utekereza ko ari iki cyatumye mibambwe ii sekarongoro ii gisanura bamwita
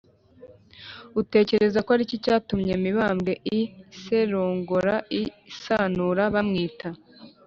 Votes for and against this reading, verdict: 1, 3, rejected